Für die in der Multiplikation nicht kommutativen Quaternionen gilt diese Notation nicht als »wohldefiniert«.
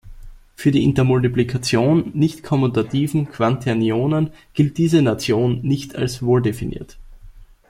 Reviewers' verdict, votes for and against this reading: rejected, 0, 2